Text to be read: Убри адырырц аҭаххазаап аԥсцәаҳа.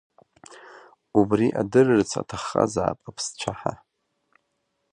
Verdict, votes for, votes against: accepted, 2, 0